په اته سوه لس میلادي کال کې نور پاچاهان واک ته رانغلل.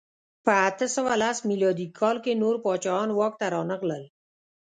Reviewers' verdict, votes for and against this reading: rejected, 0, 2